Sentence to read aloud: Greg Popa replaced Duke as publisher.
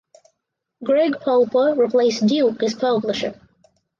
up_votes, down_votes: 0, 2